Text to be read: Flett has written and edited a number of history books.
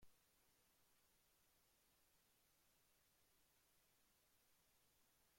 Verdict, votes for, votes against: rejected, 0, 2